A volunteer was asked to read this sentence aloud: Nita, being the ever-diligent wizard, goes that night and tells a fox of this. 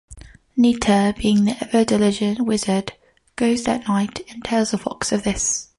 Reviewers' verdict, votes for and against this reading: accepted, 2, 0